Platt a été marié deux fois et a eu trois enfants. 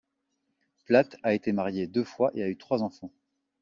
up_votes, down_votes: 2, 0